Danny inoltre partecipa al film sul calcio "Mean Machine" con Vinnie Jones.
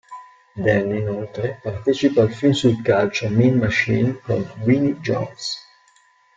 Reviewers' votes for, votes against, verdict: 2, 0, accepted